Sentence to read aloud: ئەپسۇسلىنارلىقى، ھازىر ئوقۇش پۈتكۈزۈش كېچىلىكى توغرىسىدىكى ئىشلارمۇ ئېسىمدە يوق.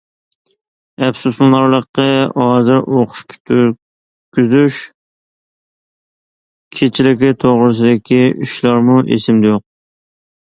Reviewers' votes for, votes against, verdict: 0, 2, rejected